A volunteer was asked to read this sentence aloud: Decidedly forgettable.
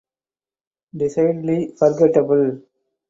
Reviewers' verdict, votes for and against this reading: accepted, 8, 0